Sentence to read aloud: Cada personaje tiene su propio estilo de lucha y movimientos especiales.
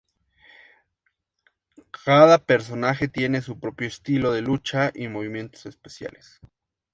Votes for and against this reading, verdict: 2, 0, accepted